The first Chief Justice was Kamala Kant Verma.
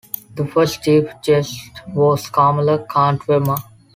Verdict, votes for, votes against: rejected, 0, 2